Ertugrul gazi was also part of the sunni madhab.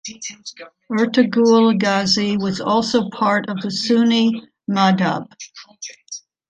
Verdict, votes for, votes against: accepted, 2, 1